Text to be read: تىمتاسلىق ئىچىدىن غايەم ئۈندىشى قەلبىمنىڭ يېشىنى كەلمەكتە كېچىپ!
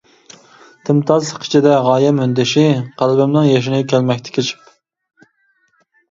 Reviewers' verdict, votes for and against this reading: accepted, 2, 0